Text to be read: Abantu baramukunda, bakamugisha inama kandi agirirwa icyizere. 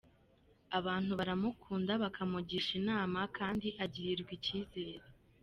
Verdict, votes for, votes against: accepted, 2, 1